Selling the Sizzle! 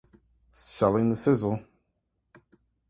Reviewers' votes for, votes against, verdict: 2, 0, accepted